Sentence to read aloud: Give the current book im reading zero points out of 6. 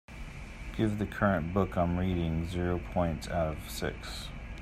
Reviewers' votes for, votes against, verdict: 0, 2, rejected